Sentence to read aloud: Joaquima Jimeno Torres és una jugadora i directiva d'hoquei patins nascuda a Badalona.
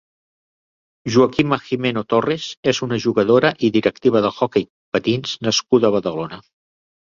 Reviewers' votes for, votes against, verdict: 0, 2, rejected